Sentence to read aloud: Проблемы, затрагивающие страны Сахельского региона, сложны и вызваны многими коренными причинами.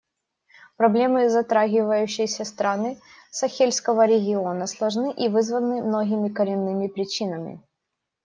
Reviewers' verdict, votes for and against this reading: rejected, 0, 2